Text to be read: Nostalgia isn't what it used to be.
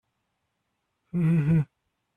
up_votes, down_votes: 0, 2